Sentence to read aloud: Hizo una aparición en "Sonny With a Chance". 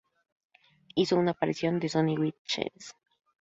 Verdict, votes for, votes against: rejected, 0, 2